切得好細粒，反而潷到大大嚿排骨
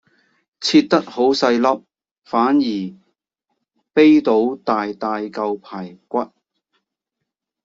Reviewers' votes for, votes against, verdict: 0, 2, rejected